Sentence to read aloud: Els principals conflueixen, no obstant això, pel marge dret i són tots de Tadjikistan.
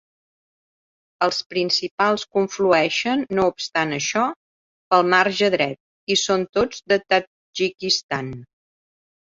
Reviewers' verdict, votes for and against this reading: accepted, 3, 0